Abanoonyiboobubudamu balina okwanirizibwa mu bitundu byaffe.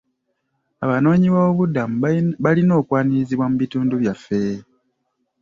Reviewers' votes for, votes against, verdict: 0, 2, rejected